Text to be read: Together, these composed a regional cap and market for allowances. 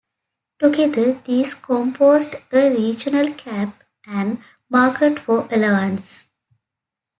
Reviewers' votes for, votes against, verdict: 1, 2, rejected